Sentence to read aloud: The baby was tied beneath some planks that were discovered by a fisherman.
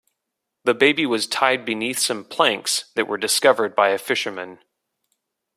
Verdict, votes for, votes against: accepted, 2, 0